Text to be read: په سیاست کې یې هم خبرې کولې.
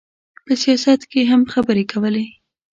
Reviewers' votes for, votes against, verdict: 2, 0, accepted